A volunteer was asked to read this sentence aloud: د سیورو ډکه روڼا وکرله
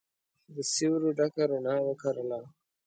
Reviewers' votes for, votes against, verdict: 2, 0, accepted